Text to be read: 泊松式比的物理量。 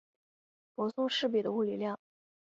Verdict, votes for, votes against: accepted, 2, 0